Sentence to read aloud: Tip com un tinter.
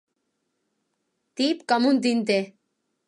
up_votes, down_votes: 3, 0